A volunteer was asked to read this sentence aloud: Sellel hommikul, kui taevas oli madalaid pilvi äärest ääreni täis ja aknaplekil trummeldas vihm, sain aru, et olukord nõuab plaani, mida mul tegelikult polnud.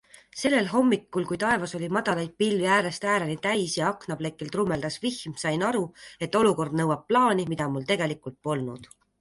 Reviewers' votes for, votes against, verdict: 2, 0, accepted